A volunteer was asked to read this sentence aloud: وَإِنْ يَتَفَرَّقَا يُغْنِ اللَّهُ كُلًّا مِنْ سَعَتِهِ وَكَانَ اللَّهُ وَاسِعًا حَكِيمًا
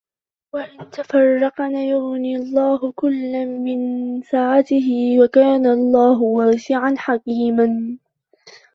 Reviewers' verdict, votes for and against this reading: rejected, 1, 2